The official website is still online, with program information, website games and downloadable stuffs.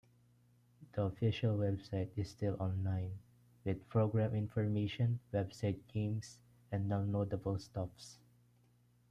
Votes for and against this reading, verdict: 2, 0, accepted